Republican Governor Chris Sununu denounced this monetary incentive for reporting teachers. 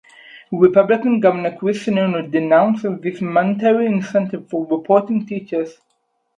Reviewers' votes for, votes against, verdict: 2, 4, rejected